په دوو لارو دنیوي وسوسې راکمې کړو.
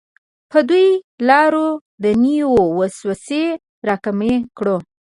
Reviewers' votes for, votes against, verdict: 1, 2, rejected